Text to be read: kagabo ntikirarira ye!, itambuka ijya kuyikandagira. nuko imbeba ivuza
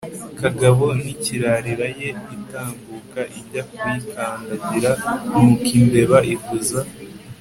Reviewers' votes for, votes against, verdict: 4, 1, accepted